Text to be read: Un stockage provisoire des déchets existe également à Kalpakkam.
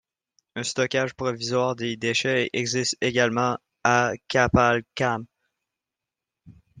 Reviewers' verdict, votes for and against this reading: rejected, 0, 2